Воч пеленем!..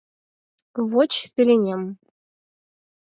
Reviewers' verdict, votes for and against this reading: rejected, 2, 4